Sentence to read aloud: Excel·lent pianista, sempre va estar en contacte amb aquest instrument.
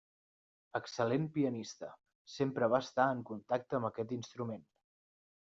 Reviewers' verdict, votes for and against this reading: accepted, 3, 0